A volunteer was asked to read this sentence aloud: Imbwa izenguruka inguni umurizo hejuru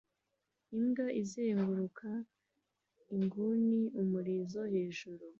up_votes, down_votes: 2, 0